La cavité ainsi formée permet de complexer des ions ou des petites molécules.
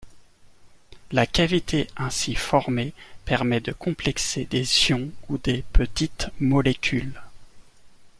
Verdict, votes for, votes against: accepted, 2, 0